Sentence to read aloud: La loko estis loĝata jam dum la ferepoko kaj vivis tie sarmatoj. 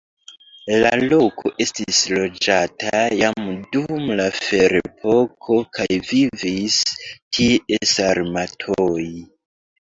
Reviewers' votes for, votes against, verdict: 0, 2, rejected